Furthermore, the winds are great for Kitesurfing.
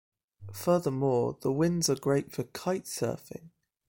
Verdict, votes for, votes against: accepted, 2, 0